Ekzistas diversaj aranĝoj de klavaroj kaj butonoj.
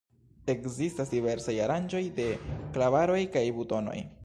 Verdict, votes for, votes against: rejected, 1, 2